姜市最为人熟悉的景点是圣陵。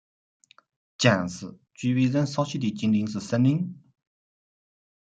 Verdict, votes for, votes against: rejected, 0, 2